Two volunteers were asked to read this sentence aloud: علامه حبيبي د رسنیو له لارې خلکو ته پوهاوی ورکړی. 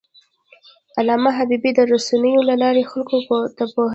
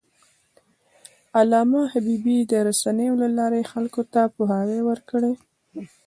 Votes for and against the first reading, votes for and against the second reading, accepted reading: 2, 1, 0, 2, first